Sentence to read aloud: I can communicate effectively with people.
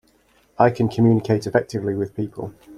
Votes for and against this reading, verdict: 2, 0, accepted